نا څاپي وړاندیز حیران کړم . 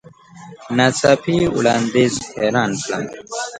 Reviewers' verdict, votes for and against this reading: accepted, 2, 1